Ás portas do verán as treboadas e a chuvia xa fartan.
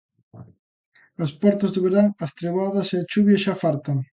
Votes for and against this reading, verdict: 2, 0, accepted